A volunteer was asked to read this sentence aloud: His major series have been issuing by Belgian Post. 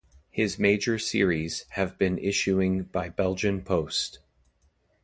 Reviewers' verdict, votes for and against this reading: accepted, 2, 0